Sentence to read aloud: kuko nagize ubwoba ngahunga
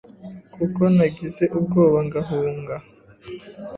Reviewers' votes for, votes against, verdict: 2, 0, accepted